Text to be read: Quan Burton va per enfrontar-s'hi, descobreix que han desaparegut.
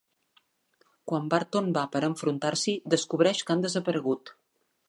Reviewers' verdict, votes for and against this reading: accepted, 2, 0